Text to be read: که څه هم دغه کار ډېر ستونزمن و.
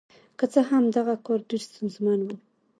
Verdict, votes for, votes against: accepted, 3, 0